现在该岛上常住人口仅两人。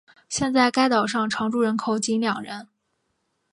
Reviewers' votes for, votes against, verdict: 4, 0, accepted